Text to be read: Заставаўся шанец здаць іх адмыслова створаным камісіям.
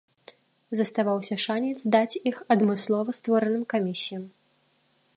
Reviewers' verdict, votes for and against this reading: accepted, 2, 0